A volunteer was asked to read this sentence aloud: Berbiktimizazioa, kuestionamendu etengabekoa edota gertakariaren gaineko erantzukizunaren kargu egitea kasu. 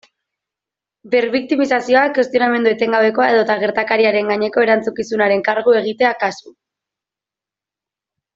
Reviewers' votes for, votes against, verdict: 2, 0, accepted